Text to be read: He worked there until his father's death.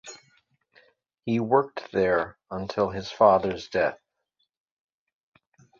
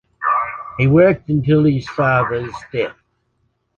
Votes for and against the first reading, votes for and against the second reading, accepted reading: 2, 0, 0, 2, first